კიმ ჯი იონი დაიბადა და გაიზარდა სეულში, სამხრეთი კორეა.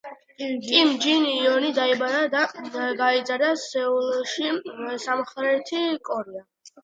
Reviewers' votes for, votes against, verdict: 2, 0, accepted